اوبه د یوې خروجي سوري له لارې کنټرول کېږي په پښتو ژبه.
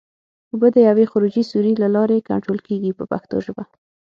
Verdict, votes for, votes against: accepted, 6, 0